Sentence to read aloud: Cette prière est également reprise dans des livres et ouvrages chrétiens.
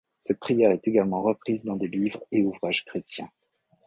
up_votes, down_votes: 2, 0